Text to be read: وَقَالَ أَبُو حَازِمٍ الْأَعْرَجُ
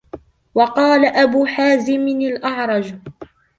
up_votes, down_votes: 2, 0